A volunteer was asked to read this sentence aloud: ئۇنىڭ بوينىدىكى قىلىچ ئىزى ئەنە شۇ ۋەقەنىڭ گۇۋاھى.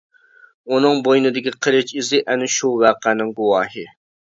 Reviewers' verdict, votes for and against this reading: accepted, 2, 0